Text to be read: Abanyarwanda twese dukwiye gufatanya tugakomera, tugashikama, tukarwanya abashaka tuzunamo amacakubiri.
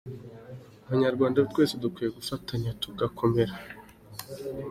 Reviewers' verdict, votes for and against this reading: rejected, 0, 2